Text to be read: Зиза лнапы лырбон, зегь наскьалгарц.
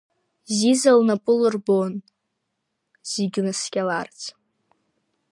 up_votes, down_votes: 1, 2